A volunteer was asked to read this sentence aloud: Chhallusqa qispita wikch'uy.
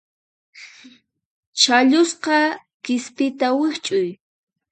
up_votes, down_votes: 4, 2